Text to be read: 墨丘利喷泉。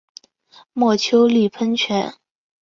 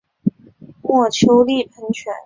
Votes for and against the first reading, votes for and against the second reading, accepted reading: 3, 0, 1, 2, first